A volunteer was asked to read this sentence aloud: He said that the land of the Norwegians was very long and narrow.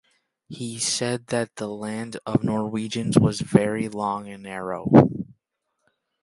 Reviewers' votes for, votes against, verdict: 1, 2, rejected